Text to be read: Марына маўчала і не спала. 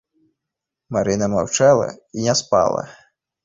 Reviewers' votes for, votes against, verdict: 2, 0, accepted